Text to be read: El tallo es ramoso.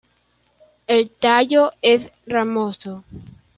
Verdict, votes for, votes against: accepted, 2, 0